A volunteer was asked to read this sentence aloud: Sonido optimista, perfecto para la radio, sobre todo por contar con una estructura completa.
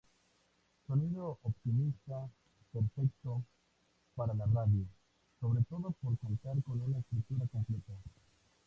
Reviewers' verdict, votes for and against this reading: rejected, 0, 2